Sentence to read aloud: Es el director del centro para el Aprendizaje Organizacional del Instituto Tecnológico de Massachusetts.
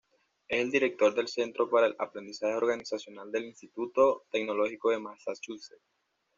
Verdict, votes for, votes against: rejected, 1, 2